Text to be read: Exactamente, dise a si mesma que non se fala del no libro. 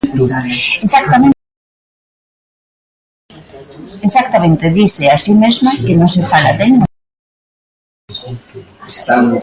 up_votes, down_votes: 0, 2